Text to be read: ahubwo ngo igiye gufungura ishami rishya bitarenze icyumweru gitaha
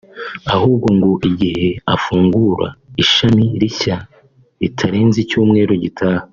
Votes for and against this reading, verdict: 1, 2, rejected